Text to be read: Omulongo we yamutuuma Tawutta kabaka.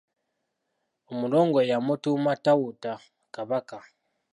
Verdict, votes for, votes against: rejected, 0, 2